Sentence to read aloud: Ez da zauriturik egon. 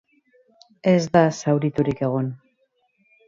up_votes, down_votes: 0, 6